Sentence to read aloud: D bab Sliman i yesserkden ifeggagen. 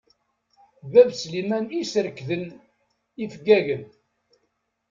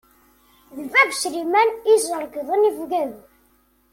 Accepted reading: second